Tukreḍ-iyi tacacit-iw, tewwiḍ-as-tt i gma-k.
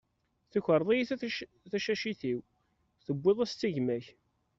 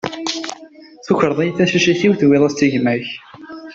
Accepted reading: second